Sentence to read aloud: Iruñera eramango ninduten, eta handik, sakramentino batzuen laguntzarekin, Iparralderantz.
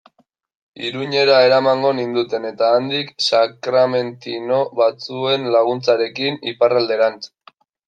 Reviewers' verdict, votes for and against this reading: rejected, 0, 2